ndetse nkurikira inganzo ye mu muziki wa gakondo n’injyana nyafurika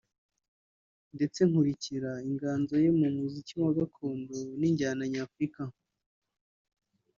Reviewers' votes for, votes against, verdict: 2, 2, rejected